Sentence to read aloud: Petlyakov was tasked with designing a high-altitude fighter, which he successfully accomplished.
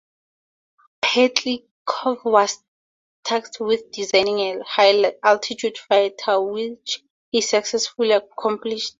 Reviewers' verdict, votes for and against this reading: rejected, 0, 4